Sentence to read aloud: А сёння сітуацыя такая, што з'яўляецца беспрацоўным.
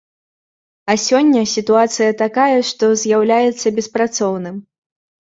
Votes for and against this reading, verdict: 2, 0, accepted